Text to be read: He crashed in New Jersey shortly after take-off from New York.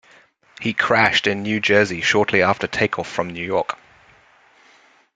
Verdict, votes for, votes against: accepted, 2, 0